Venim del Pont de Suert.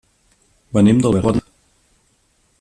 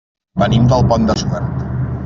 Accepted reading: second